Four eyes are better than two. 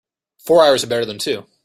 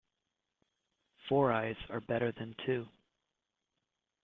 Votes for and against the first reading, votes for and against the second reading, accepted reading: 0, 2, 2, 1, second